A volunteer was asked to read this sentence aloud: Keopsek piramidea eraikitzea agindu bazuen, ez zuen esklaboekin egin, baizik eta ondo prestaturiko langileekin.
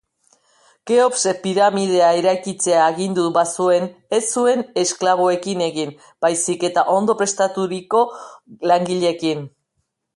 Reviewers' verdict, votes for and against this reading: accepted, 2, 0